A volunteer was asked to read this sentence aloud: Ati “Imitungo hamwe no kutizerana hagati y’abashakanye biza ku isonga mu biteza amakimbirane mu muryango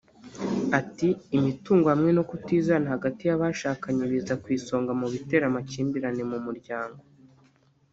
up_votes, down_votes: 0, 2